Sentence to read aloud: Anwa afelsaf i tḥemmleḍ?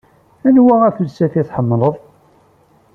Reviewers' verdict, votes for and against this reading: accepted, 2, 0